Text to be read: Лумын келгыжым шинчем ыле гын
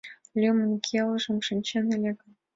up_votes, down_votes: 0, 2